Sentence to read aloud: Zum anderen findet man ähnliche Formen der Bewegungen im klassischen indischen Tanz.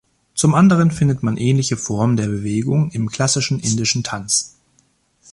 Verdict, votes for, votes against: accepted, 2, 0